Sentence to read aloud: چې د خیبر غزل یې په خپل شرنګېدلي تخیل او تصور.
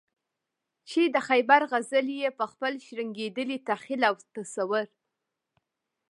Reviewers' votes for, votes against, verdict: 2, 1, accepted